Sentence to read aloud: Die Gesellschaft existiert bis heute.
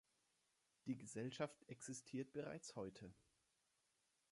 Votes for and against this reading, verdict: 0, 3, rejected